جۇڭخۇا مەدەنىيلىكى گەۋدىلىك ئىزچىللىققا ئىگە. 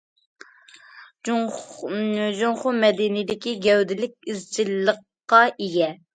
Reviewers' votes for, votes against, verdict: 0, 2, rejected